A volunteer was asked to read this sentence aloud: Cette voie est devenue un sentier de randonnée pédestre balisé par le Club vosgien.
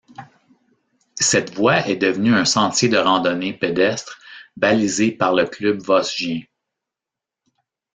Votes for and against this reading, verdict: 0, 2, rejected